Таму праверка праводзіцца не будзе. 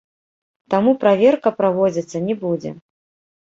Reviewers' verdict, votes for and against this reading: rejected, 0, 2